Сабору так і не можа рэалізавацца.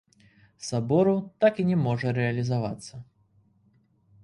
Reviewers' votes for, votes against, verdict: 2, 1, accepted